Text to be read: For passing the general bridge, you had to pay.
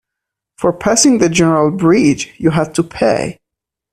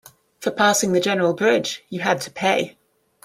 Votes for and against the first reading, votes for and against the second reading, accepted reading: 0, 2, 2, 0, second